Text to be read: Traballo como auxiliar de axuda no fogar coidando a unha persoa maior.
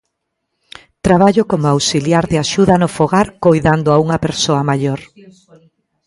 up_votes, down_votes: 1, 2